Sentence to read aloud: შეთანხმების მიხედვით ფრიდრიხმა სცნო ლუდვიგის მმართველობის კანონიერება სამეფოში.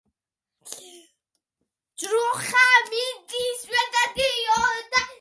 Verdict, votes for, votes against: rejected, 0, 2